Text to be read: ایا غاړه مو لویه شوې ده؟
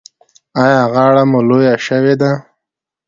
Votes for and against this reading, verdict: 2, 0, accepted